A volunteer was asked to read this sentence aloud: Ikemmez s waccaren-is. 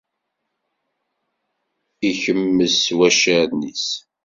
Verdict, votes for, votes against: accepted, 2, 0